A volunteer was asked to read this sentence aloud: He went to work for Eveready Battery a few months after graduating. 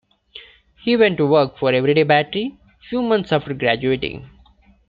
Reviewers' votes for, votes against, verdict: 2, 0, accepted